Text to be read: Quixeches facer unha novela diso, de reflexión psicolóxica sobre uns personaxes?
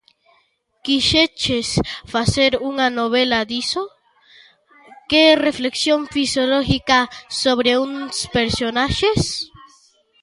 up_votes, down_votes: 0, 2